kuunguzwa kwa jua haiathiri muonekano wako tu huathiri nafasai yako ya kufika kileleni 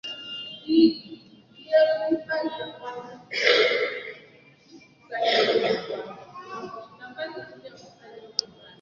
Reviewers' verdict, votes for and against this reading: rejected, 1, 3